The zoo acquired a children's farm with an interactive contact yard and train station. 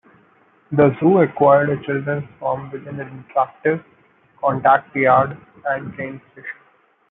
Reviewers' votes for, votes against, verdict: 1, 2, rejected